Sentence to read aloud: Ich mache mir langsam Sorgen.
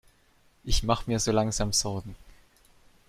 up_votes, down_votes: 1, 2